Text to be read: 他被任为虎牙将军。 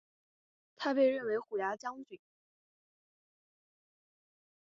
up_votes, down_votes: 1, 2